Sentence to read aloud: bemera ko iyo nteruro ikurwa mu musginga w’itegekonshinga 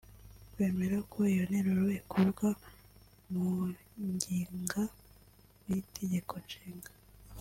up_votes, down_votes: 0, 2